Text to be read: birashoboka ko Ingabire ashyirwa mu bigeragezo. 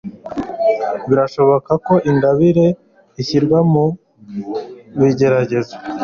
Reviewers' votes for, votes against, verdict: 1, 2, rejected